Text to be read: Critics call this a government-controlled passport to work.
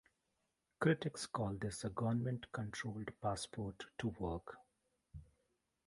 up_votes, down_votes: 2, 1